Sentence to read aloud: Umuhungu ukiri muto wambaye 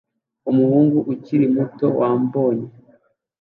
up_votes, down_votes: 2, 1